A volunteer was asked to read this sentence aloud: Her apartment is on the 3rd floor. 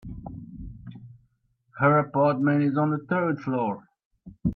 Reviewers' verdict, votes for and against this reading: rejected, 0, 2